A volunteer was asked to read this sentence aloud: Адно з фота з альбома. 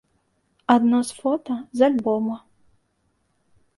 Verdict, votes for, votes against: accepted, 2, 0